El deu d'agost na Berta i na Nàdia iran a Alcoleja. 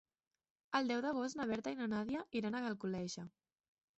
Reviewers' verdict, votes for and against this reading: accepted, 3, 1